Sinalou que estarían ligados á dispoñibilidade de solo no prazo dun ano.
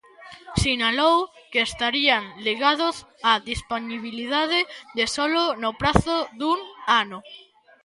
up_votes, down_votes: 1, 2